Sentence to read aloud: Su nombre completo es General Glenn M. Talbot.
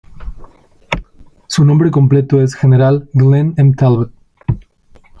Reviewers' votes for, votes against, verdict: 1, 2, rejected